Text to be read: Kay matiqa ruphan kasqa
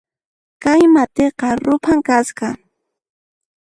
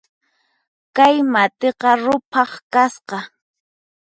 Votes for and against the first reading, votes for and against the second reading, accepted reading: 2, 0, 2, 4, first